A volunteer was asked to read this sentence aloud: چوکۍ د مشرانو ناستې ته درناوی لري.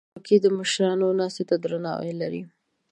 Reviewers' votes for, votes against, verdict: 1, 2, rejected